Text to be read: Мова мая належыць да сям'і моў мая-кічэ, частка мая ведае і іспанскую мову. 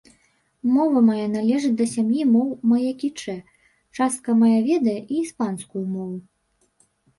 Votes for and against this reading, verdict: 1, 2, rejected